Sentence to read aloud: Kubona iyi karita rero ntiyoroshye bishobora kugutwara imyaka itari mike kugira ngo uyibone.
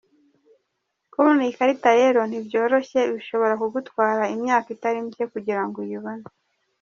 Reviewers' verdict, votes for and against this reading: accepted, 2, 0